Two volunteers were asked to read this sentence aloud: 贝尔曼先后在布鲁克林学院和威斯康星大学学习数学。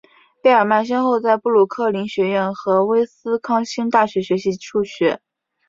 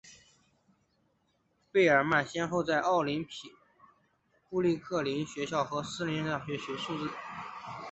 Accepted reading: first